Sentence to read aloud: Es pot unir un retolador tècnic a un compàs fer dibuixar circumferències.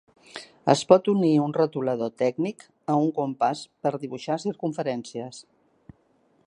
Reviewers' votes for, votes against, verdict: 2, 1, accepted